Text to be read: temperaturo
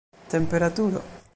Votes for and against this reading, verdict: 2, 1, accepted